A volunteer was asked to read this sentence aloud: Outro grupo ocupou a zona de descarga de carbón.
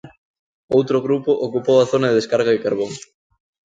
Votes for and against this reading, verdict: 2, 0, accepted